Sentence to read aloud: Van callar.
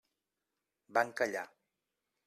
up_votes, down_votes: 3, 0